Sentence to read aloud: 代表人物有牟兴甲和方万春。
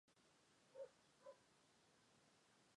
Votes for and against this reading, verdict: 3, 0, accepted